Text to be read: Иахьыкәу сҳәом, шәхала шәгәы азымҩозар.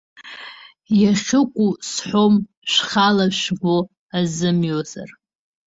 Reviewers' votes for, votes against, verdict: 2, 1, accepted